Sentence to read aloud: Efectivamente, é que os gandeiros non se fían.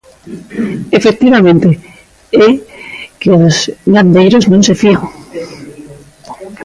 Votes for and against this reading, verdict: 0, 2, rejected